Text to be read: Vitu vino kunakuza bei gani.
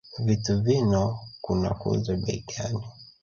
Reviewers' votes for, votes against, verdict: 1, 2, rejected